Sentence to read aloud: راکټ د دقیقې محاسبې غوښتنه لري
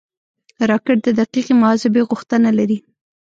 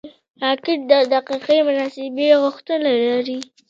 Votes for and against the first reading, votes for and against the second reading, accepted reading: 1, 3, 2, 0, second